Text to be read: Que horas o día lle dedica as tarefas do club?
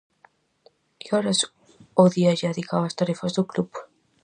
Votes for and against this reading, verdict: 0, 2, rejected